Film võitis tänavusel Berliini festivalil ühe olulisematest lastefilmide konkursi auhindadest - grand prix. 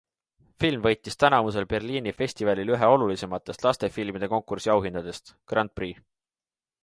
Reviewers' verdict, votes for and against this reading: accepted, 2, 0